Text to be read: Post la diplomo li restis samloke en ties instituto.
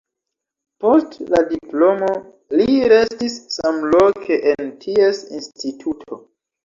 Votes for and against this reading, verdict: 2, 0, accepted